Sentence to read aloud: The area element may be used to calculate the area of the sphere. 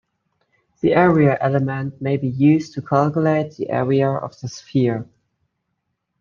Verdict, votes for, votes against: accepted, 2, 1